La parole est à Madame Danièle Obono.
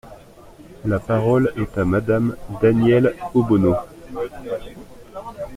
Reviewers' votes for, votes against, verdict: 2, 0, accepted